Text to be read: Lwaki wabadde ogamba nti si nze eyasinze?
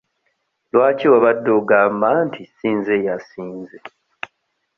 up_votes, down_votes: 0, 2